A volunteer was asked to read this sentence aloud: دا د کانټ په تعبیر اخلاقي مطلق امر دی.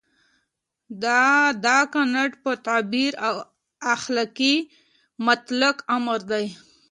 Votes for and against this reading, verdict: 1, 2, rejected